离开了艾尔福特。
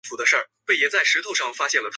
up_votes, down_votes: 0, 2